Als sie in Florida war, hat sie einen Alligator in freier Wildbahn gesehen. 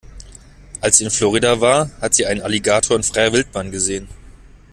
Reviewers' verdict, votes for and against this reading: accepted, 2, 0